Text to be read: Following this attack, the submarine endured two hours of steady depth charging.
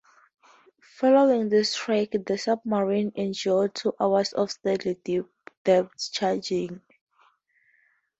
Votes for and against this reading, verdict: 0, 4, rejected